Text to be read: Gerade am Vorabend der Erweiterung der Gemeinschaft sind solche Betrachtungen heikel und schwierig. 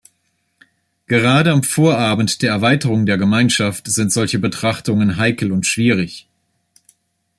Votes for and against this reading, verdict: 2, 0, accepted